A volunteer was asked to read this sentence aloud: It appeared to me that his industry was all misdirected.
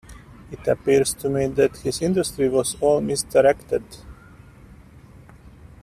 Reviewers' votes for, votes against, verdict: 1, 2, rejected